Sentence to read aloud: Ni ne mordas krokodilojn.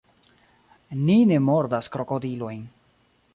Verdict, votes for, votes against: rejected, 0, 3